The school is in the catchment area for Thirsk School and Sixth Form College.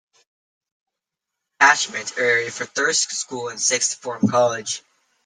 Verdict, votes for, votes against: rejected, 0, 2